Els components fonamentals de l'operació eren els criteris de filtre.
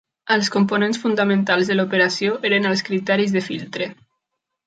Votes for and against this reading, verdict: 0, 2, rejected